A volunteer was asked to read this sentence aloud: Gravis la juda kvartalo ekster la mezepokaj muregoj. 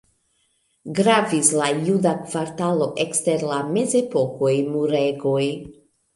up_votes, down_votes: 2, 0